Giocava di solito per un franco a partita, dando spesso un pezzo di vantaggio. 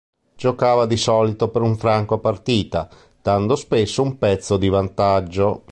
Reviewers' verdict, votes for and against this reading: accepted, 3, 0